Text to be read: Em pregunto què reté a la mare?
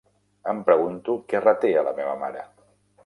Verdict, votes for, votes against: rejected, 0, 2